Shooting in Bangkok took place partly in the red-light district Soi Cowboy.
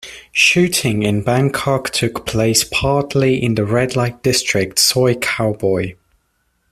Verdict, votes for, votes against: rejected, 1, 2